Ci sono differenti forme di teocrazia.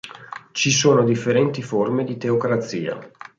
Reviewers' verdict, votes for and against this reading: accepted, 2, 0